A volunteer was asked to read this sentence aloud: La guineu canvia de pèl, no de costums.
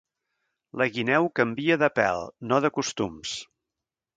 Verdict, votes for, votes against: accepted, 2, 0